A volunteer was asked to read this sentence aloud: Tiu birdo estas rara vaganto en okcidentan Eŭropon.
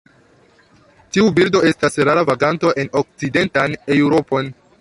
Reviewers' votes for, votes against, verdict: 2, 1, accepted